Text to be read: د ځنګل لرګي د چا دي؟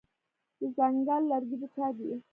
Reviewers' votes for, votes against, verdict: 2, 0, accepted